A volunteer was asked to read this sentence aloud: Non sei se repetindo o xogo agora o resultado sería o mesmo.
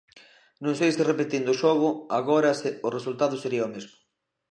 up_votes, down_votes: 1, 2